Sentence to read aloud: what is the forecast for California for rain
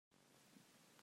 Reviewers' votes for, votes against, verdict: 0, 2, rejected